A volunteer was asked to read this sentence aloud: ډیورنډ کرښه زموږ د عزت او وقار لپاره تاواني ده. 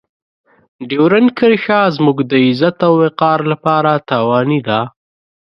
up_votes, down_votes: 2, 0